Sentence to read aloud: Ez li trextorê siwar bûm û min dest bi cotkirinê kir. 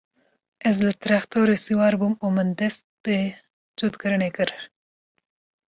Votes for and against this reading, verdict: 2, 0, accepted